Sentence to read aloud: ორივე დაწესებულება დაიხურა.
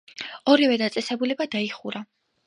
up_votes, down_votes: 2, 1